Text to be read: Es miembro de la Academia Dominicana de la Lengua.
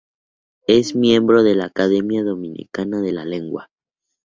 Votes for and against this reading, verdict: 4, 0, accepted